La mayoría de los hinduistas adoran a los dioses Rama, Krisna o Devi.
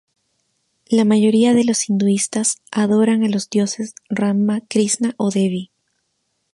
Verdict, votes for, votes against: accepted, 2, 0